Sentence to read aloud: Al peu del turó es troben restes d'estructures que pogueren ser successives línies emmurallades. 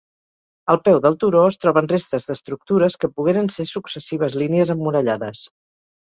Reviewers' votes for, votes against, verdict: 4, 0, accepted